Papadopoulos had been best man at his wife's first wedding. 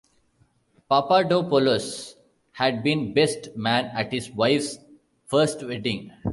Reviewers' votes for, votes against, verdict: 2, 0, accepted